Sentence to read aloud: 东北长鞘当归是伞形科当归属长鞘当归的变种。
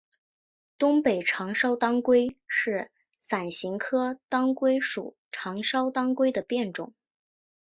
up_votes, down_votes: 2, 1